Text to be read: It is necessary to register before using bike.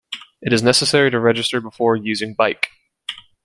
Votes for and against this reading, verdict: 2, 0, accepted